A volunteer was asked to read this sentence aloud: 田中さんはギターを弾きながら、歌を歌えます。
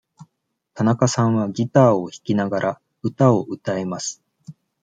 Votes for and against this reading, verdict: 2, 0, accepted